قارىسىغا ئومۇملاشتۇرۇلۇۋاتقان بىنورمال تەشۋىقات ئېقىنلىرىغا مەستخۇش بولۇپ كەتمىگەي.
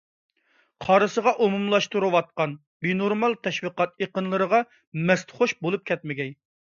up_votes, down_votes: 1, 2